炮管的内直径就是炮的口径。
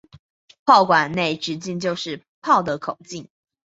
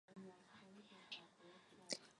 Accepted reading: first